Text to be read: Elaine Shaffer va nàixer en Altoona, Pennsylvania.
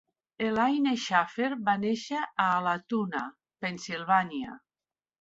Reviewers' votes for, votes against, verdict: 0, 2, rejected